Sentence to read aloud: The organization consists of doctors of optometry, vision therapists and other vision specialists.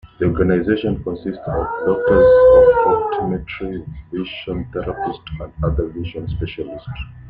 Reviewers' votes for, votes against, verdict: 1, 2, rejected